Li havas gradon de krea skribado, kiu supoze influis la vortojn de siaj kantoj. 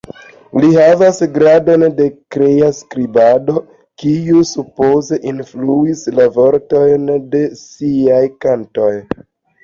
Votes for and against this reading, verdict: 2, 0, accepted